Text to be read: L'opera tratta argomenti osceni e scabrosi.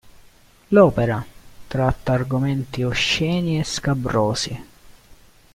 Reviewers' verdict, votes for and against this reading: rejected, 0, 2